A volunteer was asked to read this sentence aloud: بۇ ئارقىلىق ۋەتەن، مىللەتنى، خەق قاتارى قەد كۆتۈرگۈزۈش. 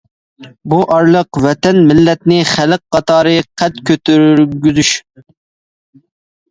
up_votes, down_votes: 0, 2